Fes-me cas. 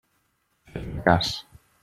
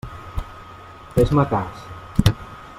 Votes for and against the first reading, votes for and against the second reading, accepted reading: 0, 2, 3, 1, second